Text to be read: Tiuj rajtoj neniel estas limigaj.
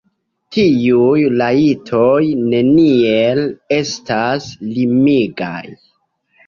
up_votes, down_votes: 2, 0